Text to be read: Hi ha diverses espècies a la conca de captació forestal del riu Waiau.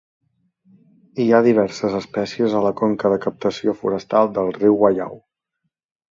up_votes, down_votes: 2, 0